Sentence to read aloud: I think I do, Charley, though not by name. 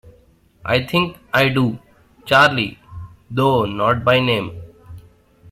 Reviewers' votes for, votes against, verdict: 2, 0, accepted